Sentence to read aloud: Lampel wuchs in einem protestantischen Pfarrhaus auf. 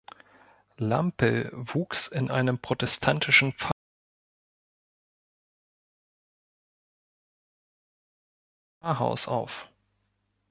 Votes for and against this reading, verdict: 0, 2, rejected